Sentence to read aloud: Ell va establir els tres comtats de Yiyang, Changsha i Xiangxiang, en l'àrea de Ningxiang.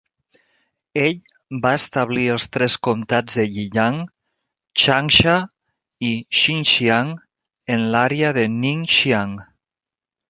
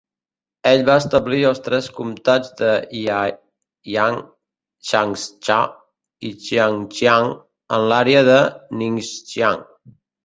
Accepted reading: first